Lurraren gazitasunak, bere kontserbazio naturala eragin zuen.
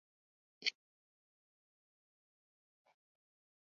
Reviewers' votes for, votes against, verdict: 0, 4, rejected